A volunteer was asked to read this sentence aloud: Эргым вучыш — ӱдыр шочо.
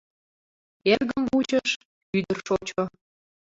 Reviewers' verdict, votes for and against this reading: accepted, 2, 0